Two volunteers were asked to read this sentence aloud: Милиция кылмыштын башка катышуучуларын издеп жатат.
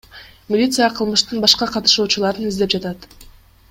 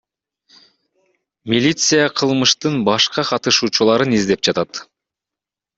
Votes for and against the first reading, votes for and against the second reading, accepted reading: 2, 0, 0, 2, first